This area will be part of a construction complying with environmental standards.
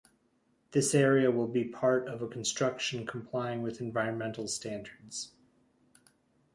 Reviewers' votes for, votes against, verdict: 2, 0, accepted